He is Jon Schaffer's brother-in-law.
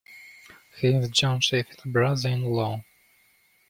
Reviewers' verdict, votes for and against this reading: rejected, 1, 2